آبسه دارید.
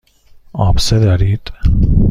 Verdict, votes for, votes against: accepted, 2, 0